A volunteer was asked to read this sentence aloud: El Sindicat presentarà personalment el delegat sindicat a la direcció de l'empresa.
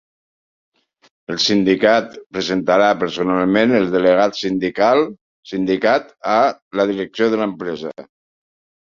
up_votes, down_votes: 0, 3